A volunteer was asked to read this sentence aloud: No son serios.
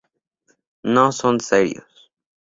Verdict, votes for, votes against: rejected, 0, 2